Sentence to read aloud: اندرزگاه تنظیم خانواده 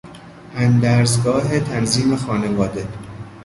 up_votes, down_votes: 2, 0